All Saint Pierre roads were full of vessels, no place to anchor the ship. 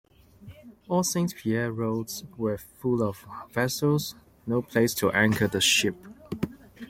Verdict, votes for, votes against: accepted, 2, 0